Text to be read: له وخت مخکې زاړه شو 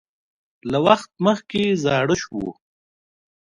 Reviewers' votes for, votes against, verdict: 2, 0, accepted